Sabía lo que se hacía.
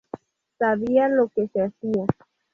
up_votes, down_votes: 2, 0